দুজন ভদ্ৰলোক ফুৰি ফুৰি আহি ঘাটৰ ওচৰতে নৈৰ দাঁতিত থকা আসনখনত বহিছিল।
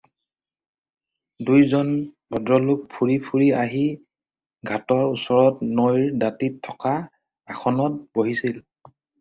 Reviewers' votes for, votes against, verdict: 2, 4, rejected